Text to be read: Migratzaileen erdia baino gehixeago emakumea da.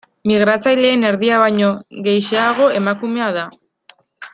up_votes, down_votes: 2, 0